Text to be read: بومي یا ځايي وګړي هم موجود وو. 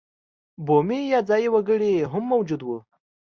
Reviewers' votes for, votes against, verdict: 2, 0, accepted